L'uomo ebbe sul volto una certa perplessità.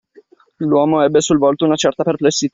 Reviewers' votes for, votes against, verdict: 1, 2, rejected